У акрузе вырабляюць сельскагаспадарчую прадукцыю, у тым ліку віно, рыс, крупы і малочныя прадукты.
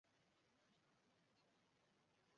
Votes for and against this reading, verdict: 0, 2, rejected